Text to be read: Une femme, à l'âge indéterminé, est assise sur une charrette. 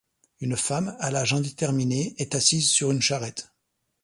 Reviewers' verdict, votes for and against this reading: accepted, 2, 0